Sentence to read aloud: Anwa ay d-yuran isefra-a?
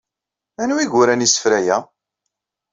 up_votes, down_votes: 1, 2